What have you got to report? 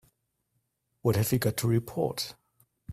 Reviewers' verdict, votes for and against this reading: accepted, 2, 0